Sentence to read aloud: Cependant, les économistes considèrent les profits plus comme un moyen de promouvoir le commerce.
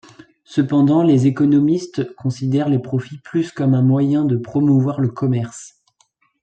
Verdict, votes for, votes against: accepted, 2, 0